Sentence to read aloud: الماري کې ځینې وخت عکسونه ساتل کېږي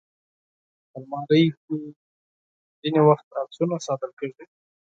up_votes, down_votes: 0, 4